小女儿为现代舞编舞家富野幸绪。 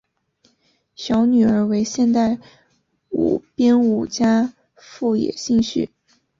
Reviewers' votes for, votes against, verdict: 2, 0, accepted